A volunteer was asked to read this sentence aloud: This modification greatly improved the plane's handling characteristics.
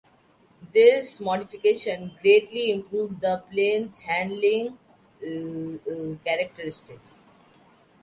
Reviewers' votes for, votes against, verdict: 0, 2, rejected